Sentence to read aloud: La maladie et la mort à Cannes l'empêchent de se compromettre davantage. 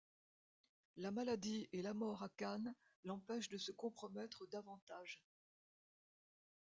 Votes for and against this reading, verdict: 2, 0, accepted